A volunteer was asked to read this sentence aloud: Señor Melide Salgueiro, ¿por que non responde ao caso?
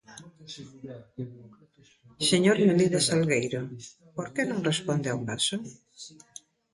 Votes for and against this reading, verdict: 1, 2, rejected